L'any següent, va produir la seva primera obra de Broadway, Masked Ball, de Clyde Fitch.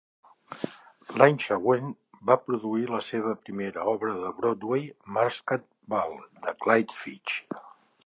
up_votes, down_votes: 2, 0